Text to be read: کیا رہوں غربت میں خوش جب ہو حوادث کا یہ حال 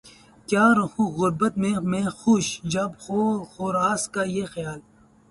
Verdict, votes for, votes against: rejected, 0, 4